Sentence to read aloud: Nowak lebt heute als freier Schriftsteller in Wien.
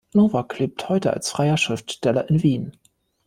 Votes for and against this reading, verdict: 2, 0, accepted